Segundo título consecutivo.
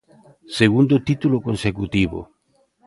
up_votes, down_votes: 2, 0